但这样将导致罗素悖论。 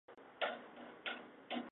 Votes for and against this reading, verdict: 0, 5, rejected